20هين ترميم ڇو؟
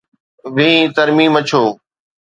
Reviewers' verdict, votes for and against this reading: rejected, 0, 2